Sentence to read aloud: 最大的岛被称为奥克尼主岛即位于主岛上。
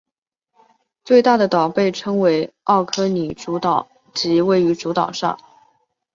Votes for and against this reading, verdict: 4, 0, accepted